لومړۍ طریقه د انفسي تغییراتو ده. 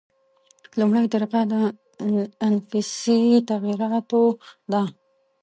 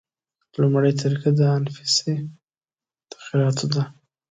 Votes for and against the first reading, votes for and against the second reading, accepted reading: 0, 2, 2, 0, second